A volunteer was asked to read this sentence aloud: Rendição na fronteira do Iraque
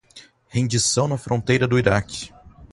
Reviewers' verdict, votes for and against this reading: rejected, 2, 2